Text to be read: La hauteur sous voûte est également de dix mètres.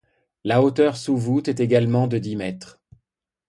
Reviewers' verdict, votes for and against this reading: accepted, 2, 0